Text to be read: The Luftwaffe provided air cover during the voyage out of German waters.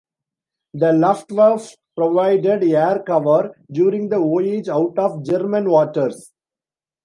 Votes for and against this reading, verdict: 0, 2, rejected